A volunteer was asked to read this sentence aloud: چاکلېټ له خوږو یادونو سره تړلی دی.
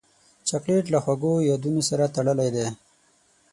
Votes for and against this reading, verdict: 6, 0, accepted